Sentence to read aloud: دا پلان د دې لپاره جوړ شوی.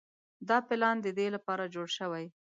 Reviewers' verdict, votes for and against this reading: accepted, 3, 0